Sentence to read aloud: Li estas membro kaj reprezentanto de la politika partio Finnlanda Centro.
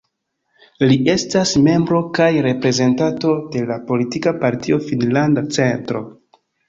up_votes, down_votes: 1, 2